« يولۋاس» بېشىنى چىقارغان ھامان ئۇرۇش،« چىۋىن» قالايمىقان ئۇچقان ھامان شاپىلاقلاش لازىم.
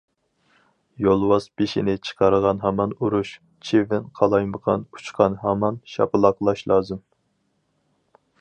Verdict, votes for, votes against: accepted, 4, 0